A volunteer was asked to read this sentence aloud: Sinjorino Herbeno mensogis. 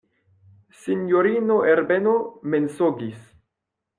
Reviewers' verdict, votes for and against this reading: rejected, 1, 2